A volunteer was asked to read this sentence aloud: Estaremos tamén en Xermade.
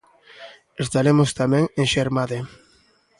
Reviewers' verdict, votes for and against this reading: accepted, 2, 1